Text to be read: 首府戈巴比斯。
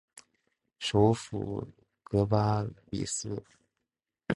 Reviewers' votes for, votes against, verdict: 2, 0, accepted